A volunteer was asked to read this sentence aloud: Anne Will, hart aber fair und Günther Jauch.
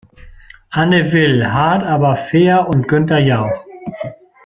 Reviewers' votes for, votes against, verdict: 2, 0, accepted